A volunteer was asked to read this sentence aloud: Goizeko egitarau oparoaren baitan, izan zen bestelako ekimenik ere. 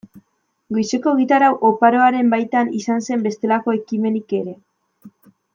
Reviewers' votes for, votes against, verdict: 1, 2, rejected